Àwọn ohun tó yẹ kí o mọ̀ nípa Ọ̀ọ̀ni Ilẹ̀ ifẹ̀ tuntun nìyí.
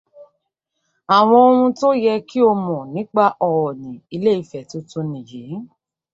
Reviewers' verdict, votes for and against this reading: rejected, 1, 2